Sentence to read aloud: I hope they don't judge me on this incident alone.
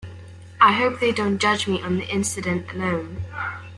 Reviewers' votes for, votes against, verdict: 2, 3, rejected